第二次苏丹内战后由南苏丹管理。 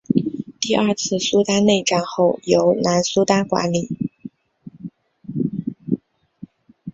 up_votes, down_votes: 3, 0